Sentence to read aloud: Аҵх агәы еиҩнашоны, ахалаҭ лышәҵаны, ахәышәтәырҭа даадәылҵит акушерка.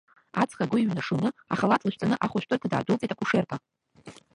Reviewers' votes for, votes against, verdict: 0, 2, rejected